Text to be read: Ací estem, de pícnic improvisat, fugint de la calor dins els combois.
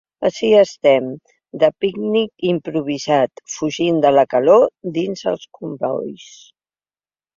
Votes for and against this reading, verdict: 4, 1, accepted